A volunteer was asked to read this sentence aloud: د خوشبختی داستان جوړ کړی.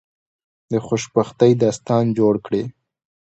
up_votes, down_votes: 2, 0